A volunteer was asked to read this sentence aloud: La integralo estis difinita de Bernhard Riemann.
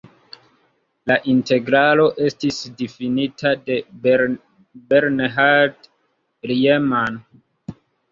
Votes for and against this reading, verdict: 2, 0, accepted